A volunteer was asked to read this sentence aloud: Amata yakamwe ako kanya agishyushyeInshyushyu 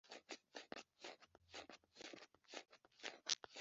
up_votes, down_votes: 0, 3